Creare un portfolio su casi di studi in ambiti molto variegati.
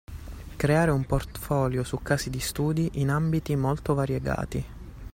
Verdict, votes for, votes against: accepted, 2, 0